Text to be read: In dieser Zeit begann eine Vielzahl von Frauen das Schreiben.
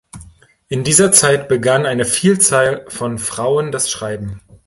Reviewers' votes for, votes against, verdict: 2, 0, accepted